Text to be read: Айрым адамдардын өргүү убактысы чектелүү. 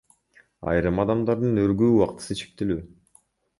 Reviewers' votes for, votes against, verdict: 1, 2, rejected